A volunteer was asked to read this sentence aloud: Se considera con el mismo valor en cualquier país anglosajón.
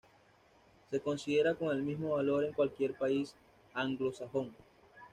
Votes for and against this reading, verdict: 2, 1, accepted